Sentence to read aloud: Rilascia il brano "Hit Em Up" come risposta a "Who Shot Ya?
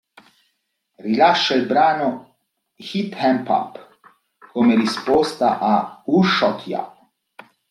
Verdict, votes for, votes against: rejected, 1, 2